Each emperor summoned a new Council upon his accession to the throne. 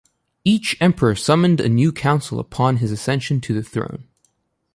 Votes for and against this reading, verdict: 2, 1, accepted